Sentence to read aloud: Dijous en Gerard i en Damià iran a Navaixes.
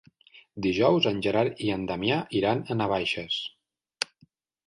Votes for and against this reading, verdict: 3, 0, accepted